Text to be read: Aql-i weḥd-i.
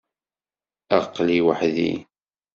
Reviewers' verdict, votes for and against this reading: accepted, 2, 0